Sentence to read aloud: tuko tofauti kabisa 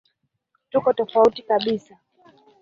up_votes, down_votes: 1, 2